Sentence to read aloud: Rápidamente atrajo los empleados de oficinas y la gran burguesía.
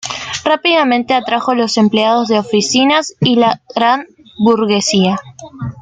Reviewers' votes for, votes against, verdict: 2, 1, accepted